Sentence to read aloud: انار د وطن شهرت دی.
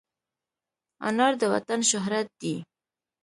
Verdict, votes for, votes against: accepted, 2, 0